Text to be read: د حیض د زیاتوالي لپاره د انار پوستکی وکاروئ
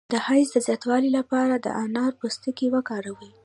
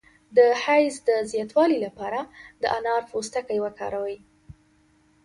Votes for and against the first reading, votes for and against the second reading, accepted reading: 1, 2, 2, 0, second